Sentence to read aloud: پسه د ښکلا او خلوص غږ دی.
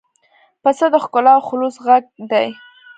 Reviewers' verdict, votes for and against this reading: accepted, 2, 0